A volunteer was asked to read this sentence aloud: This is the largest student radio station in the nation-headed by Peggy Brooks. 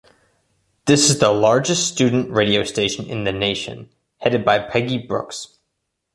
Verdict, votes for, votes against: accepted, 2, 1